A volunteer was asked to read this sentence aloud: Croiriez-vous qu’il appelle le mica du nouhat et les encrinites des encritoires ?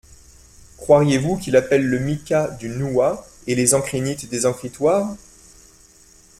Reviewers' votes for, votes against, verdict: 2, 1, accepted